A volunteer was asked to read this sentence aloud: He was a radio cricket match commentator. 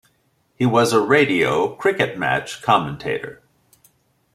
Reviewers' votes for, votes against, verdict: 2, 0, accepted